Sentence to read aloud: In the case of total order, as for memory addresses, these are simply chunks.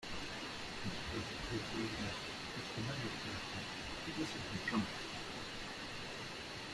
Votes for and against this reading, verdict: 0, 2, rejected